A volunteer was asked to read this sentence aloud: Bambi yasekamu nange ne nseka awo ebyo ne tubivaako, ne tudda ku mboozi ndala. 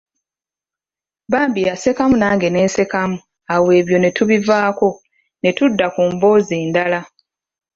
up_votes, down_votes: 0, 2